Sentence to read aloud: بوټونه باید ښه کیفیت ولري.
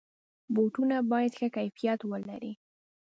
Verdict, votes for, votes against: accepted, 2, 0